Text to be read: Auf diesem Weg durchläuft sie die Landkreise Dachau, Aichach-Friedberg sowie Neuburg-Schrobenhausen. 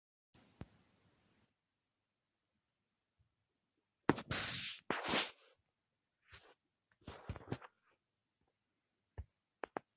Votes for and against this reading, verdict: 0, 2, rejected